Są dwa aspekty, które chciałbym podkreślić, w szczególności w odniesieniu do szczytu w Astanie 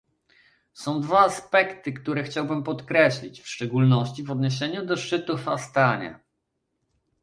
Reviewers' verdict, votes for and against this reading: accepted, 2, 0